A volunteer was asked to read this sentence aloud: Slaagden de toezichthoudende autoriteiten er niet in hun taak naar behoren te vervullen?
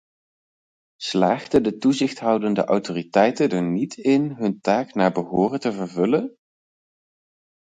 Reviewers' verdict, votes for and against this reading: rejected, 0, 4